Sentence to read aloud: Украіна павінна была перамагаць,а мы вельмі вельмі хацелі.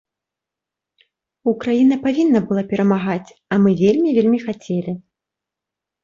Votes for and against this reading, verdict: 3, 0, accepted